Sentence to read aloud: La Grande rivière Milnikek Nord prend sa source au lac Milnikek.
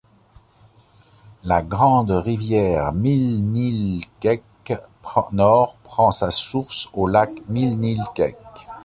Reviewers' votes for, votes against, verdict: 0, 2, rejected